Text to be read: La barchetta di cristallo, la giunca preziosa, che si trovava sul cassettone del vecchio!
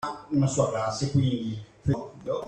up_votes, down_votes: 0, 2